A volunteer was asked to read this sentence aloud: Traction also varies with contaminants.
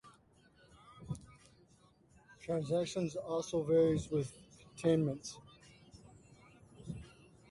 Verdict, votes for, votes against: rejected, 0, 2